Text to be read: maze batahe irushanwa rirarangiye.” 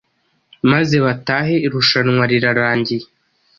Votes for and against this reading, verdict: 2, 0, accepted